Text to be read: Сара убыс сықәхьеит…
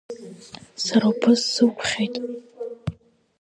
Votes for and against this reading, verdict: 0, 2, rejected